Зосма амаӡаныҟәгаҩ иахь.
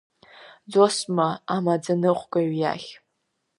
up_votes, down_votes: 2, 0